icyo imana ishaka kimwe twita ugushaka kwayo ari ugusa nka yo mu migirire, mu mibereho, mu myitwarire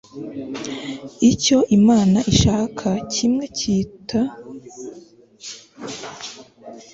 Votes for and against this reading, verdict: 1, 2, rejected